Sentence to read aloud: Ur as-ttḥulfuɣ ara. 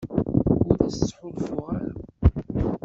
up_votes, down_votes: 2, 0